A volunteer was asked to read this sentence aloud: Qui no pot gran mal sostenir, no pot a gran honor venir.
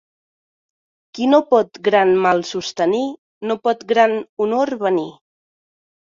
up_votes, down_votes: 0, 2